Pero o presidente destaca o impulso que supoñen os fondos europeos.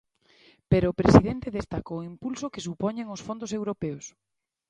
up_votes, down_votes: 2, 1